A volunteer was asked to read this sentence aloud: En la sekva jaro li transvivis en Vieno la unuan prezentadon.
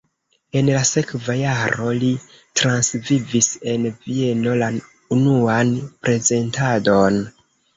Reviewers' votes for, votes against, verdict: 1, 2, rejected